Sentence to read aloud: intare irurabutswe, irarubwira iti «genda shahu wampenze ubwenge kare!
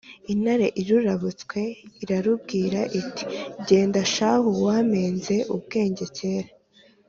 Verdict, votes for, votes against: accepted, 2, 0